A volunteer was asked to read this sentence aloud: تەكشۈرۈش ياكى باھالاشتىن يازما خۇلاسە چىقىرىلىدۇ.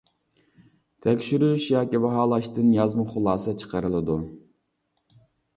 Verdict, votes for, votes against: accepted, 2, 0